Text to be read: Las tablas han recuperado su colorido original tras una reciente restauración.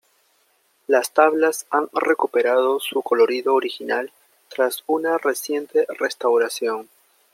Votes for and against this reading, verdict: 2, 0, accepted